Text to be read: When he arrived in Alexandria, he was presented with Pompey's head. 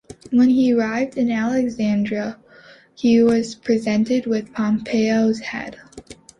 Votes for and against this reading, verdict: 2, 0, accepted